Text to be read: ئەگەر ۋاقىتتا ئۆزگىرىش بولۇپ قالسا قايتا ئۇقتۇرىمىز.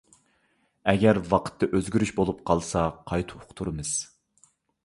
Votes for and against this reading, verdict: 2, 0, accepted